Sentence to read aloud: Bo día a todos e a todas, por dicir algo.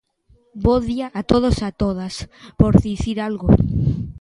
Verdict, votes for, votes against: rejected, 1, 2